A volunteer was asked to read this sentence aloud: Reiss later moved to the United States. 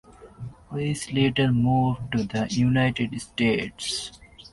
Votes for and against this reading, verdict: 2, 0, accepted